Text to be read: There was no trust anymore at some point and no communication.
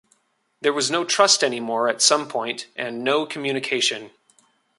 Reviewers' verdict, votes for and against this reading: accepted, 2, 0